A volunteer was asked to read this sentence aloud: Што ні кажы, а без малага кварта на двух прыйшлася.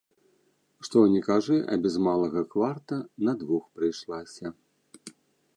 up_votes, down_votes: 0, 2